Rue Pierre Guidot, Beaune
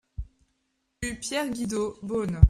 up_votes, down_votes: 0, 2